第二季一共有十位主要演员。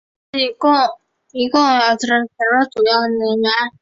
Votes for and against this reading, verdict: 0, 2, rejected